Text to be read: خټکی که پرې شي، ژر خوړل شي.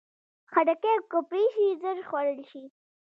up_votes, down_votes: 0, 2